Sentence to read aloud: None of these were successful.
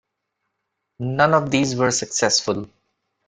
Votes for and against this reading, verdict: 2, 0, accepted